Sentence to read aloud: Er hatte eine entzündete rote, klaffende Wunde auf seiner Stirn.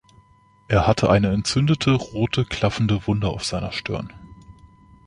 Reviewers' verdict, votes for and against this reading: accepted, 2, 0